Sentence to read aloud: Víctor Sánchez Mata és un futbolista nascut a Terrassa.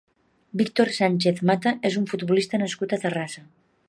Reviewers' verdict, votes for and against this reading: accepted, 3, 0